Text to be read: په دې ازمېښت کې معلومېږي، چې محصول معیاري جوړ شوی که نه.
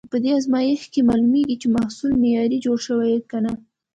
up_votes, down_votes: 2, 0